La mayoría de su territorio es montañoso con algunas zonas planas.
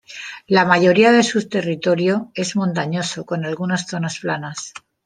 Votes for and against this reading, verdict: 2, 0, accepted